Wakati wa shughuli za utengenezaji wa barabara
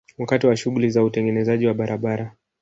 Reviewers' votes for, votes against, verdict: 1, 2, rejected